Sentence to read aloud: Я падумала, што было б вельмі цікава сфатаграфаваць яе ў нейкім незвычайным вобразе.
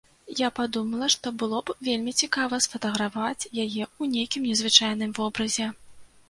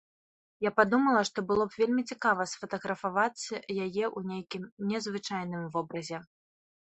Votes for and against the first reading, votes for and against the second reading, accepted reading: 1, 2, 2, 1, second